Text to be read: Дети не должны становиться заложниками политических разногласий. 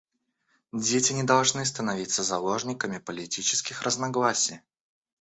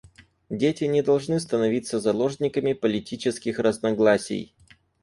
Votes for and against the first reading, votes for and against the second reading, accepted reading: 1, 2, 4, 0, second